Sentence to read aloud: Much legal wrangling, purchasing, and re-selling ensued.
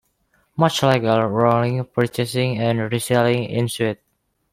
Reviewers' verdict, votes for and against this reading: rejected, 0, 2